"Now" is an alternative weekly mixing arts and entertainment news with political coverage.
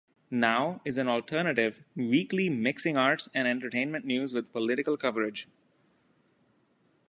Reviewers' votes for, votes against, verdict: 2, 0, accepted